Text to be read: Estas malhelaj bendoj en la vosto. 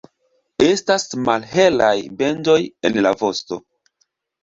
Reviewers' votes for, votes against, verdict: 2, 1, accepted